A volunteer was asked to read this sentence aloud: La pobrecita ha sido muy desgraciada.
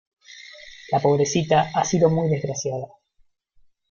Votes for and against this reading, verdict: 1, 2, rejected